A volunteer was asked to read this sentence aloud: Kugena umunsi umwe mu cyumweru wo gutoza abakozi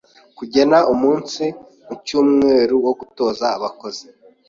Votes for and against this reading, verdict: 1, 2, rejected